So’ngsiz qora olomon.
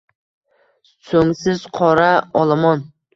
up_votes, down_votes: 2, 0